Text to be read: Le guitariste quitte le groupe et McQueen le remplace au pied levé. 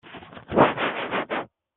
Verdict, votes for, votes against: rejected, 0, 2